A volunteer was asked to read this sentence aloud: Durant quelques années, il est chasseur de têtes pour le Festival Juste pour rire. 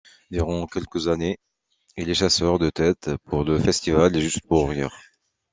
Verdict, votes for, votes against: accepted, 2, 0